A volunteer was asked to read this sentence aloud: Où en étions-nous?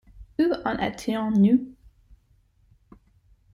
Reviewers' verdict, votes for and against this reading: rejected, 1, 2